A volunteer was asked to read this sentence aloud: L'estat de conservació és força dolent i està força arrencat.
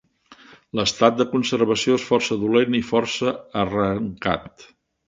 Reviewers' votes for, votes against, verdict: 0, 2, rejected